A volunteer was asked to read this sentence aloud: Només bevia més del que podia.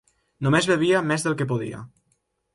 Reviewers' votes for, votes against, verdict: 3, 0, accepted